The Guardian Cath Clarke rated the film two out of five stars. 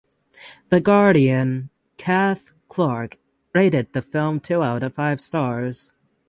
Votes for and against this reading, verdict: 6, 0, accepted